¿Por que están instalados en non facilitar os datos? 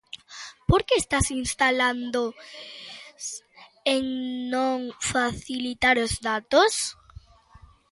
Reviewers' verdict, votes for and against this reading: rejected, 0, 2